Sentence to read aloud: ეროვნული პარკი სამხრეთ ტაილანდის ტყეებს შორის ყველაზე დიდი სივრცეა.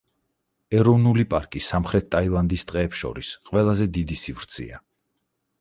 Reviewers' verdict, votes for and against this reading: accepted, 4, 0